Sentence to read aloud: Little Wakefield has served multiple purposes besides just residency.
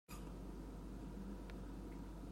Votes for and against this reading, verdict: 0, 2, rejected